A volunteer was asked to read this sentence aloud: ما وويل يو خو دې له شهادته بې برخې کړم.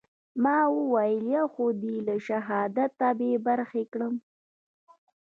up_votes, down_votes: 1, 2